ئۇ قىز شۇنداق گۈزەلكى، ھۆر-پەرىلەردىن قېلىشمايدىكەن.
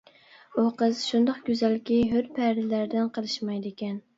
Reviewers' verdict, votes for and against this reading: accepted, 2, 0